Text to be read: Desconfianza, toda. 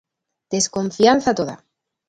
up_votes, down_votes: 2, 0